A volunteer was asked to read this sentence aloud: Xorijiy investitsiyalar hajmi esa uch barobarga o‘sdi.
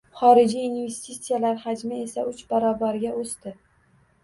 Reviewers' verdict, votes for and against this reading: accepted, 2, 0